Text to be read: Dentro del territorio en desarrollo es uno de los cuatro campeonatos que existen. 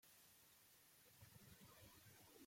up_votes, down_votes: 0, 2